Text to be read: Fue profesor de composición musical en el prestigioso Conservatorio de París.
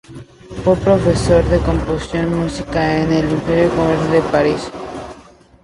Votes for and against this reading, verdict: 0, 2, rejected